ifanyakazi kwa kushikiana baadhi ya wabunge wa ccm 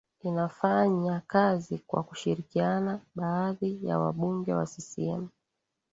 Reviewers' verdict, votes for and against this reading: rejected, 0, 2